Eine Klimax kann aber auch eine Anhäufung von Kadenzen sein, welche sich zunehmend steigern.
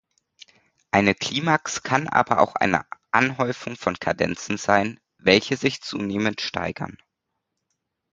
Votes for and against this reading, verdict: 1, 2, rejected